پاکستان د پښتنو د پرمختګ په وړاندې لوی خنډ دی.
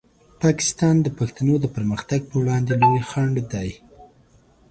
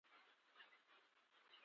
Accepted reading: first